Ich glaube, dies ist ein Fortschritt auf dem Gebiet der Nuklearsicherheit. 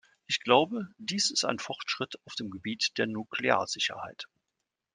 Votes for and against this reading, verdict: 2, 0, accepted